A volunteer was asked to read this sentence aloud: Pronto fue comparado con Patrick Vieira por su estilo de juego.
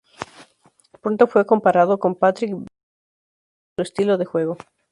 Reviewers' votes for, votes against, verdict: 2, 2, rejected